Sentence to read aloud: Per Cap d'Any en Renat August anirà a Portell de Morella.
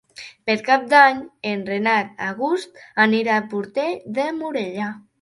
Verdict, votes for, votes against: accepted, 3, 0